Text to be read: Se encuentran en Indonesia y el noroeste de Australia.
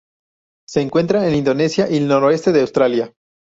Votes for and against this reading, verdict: 2, 2, rejected